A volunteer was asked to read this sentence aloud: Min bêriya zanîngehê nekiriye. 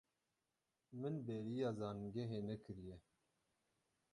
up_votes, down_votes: 0, 12